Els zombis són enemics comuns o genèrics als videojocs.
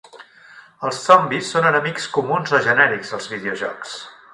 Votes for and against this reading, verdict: 2, 0, accepted